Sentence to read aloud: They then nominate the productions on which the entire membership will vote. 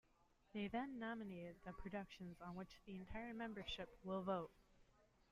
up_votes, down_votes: 1, 2